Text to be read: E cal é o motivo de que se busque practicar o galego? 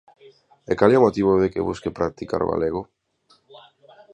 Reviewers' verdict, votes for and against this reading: rejected, 1, 2